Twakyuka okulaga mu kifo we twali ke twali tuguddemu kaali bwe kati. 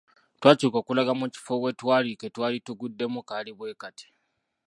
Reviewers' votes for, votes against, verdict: 0, 2, rejected